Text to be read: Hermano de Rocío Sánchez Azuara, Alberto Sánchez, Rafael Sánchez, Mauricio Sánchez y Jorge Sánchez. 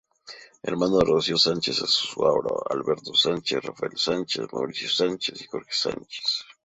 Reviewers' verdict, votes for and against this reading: rejected, 0, 2